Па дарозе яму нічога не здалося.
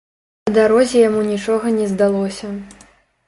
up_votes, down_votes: 1, 3